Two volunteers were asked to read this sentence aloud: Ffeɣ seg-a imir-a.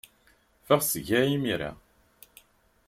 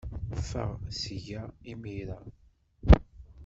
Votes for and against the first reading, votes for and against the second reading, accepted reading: 2, 0, 1, 2, first